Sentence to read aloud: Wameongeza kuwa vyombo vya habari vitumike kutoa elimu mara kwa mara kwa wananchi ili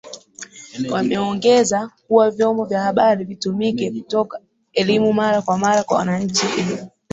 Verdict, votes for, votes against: accepted, 4, 1